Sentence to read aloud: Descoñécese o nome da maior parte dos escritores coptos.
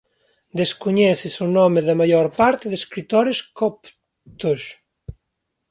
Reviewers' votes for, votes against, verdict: 0, 2, rejected